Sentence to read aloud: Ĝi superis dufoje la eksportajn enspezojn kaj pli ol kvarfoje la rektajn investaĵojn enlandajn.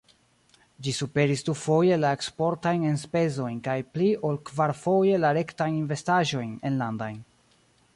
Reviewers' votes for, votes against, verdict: 1, 2, rejected